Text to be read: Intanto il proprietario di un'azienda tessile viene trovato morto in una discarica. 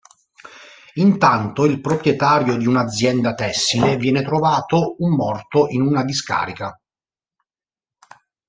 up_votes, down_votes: 1, 2